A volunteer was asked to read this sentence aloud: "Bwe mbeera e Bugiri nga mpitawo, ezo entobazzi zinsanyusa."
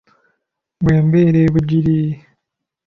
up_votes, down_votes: 0, 2